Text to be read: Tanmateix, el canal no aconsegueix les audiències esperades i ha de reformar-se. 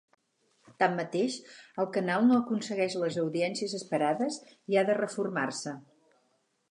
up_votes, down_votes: 6, 0